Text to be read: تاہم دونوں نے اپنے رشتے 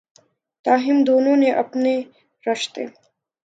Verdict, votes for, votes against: rejected, 1, 2